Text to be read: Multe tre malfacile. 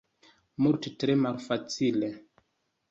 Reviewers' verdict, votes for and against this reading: accepted, 2, 0